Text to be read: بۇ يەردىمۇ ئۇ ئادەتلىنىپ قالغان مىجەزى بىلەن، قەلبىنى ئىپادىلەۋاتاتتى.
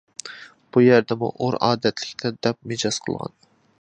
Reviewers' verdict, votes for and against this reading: rejected, 0, 2